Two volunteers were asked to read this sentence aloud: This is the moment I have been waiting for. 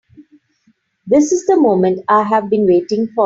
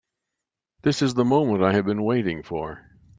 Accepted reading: second